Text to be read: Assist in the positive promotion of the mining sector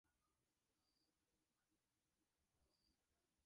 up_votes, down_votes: 0, 2